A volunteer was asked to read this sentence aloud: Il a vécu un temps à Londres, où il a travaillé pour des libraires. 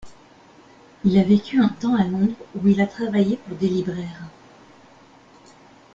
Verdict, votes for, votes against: accepted, 2, 0